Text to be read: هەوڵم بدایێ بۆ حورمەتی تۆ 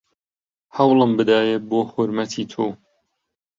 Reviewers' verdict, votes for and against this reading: accepted, 2, 0